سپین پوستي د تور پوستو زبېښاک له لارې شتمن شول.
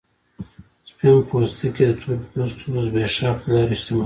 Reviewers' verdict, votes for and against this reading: accepted, 2, 1